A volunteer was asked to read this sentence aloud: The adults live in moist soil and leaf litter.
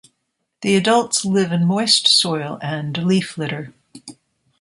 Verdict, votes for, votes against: accepted, 2, 0